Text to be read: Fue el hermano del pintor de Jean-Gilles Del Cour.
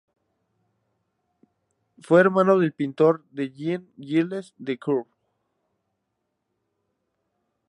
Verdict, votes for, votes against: rejected, 0, 2